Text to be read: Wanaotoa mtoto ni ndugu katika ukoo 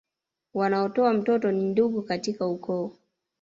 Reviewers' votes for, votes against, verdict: 0, 2, rejected